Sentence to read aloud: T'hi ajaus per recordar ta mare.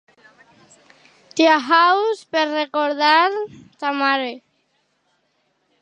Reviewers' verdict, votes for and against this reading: rejected, 0, 2